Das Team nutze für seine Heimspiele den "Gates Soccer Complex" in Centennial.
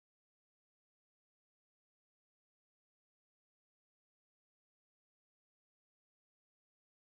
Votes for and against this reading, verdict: 0, 2, rejected